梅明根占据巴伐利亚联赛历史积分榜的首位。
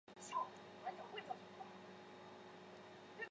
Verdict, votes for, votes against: rejected, 0, 2